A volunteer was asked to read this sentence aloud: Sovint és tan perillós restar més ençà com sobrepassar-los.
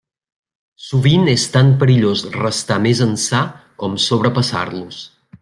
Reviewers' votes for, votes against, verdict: 3, 0, accepted